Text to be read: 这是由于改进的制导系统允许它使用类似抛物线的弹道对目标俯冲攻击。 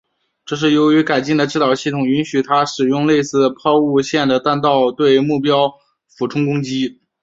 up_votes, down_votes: 2, 0